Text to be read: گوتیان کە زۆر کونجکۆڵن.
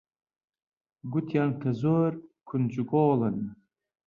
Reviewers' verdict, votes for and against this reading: rejected, 1, 2